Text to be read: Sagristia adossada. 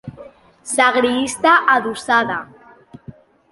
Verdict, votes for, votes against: rejected, 0, 2